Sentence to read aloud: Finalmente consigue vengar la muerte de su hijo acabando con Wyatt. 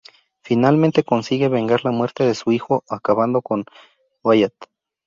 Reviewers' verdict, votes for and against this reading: accepted, 4, 0